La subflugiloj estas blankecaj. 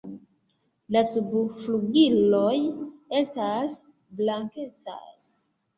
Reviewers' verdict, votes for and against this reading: accepted, 3, 2